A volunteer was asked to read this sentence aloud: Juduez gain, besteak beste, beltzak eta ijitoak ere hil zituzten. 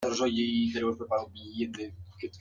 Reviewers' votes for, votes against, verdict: 0, 2, rejected